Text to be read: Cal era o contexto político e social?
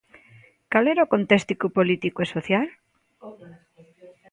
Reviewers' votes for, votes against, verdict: 1, 2, rejected